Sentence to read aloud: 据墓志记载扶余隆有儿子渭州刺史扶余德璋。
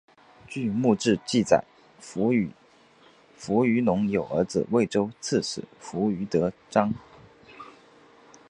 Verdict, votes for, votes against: rejected, 0, 5